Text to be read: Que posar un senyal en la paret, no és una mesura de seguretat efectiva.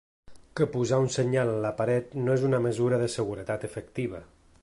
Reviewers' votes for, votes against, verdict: 2, 0, accepted